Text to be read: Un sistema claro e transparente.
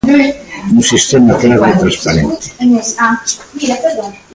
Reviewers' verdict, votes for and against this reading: rejected, 0, 2